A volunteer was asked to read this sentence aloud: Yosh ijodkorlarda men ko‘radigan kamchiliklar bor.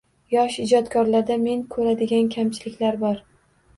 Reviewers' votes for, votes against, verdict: 2, 0, accepted